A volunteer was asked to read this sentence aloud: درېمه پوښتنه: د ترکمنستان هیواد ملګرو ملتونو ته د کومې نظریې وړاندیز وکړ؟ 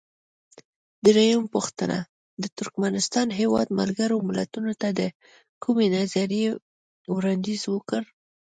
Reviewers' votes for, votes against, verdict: 2, 0, accepted